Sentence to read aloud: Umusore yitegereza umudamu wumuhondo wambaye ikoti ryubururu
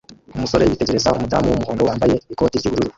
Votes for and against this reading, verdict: 0, 2, rejected